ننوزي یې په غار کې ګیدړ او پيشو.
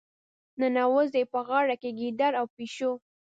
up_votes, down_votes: 1, 2